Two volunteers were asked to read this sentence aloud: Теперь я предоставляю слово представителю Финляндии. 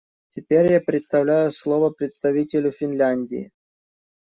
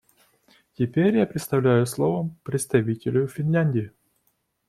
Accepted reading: second